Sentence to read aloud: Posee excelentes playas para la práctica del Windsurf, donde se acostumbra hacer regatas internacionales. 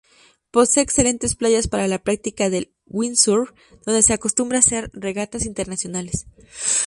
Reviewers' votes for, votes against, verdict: 0, 2, rejected